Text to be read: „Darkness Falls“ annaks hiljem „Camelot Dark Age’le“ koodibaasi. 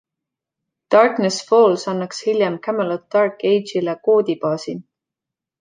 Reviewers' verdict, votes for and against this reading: accepted, 2, 0